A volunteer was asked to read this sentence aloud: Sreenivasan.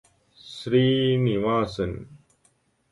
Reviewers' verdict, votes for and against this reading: accepted, 2, 0